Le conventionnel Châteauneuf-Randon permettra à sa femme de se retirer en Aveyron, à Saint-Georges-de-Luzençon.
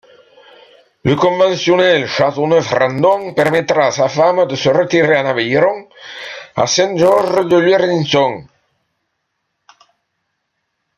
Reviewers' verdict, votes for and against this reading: rejected, 1, 2